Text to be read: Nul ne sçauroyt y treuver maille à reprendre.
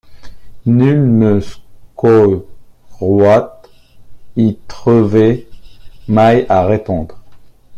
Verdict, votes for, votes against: rejected, 1, 2